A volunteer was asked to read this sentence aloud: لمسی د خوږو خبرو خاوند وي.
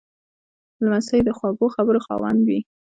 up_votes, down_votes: 2, 0